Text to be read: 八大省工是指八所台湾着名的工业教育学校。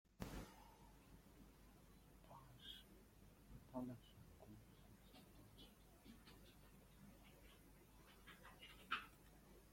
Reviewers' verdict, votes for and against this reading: rejected, 0, 2